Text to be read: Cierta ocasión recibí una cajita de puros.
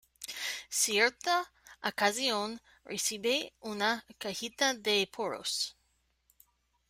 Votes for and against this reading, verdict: 1, 2, rejected